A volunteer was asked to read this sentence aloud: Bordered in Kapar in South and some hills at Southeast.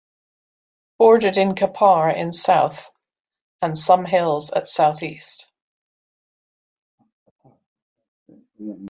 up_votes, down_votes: 2, 0